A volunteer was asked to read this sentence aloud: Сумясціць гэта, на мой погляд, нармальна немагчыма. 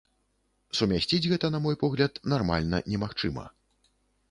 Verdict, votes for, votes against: accepted, 3, 0